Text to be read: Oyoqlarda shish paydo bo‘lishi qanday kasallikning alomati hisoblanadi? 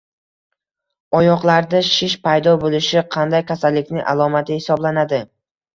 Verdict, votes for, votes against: accepted, 2, 0